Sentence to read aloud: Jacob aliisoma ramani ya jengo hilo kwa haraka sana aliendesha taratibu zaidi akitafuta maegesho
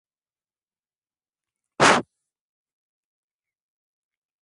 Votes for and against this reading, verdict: 1, 4, rejected